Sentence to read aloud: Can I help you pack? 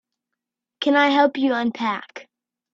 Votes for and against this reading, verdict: 0, 3, rejected